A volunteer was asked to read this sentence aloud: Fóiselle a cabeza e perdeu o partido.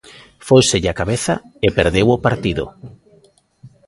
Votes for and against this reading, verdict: 2, 1, accepted